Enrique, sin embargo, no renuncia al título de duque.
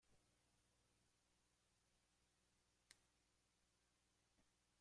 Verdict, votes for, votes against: rejected, 0, 2